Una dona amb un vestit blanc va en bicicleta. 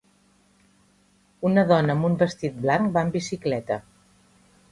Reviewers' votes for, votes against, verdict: 3, 0, accepted